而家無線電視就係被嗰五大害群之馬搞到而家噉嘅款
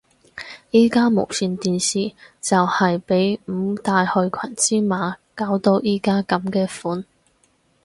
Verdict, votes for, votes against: rejected, 0, 4